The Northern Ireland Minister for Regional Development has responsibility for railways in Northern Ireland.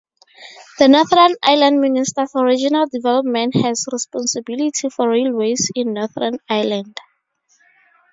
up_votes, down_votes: 2, 0